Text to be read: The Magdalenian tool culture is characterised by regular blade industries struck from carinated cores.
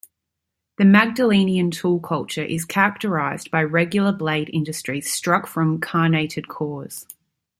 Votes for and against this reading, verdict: 1, 2, rejected